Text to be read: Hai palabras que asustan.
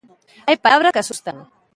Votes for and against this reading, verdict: 0, 2, rejected